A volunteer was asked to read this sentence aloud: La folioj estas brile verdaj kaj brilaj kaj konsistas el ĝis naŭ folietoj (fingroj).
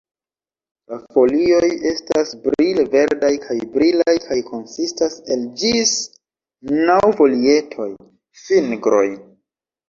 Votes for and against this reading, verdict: 1, 2, rejected